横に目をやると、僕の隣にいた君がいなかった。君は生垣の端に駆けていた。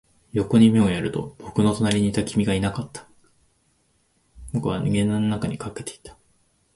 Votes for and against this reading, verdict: 0, 2, rejected